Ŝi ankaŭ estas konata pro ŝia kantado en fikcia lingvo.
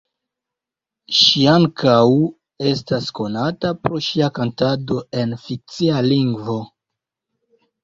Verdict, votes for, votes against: rejected, 1, 2